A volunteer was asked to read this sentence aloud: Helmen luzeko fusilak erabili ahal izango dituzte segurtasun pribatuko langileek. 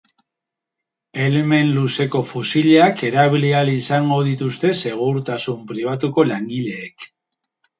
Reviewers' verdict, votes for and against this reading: rejected, 2, 2